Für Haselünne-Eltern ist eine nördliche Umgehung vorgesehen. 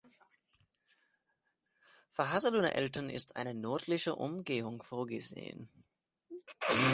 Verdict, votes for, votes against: rejected, 1, 2